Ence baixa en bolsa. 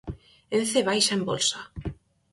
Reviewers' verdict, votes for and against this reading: accepted, 4, 0